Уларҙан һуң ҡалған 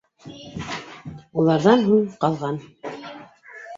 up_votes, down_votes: 0, 2